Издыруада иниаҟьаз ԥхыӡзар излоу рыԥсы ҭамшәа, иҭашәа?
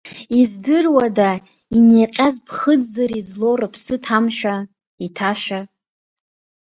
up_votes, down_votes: 1, 2